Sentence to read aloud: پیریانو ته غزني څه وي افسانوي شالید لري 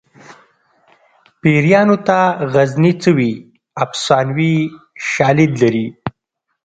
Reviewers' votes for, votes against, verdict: 2, 0, accepted